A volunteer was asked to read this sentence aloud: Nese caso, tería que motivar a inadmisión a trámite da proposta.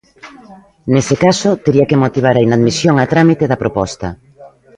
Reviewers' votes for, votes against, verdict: 0, 2, rejected